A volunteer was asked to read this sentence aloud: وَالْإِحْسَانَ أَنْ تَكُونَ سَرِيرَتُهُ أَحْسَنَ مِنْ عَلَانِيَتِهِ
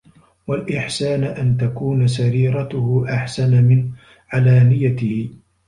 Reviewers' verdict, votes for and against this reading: accepted, 2, 0